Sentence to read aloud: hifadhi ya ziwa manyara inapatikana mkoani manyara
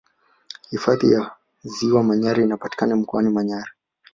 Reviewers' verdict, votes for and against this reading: accepted, 3, 0